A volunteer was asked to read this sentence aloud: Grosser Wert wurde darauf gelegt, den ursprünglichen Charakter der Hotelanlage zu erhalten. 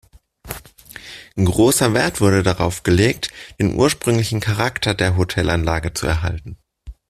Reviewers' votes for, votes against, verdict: 2, 0, accepted